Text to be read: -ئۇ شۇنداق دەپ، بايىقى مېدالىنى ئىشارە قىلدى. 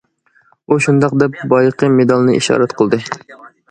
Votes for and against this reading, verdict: 2, 1, accepted